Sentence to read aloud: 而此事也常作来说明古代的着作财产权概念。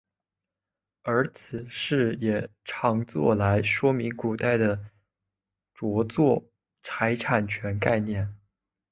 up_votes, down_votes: 1, 2